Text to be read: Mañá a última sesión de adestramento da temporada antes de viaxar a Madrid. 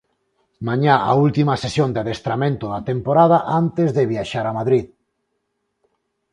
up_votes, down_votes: 4, 0